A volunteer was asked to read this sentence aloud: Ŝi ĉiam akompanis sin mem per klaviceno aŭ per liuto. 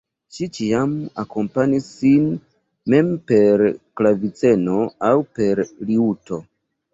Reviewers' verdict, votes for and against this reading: rejected, 1, 2